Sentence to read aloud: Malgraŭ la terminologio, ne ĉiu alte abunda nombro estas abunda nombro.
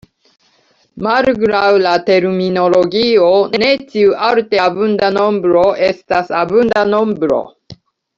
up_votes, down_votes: 0, 2